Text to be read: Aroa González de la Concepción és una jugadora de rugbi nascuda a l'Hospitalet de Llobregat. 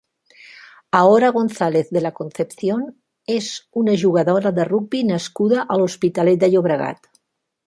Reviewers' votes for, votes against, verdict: 1, 2, rejected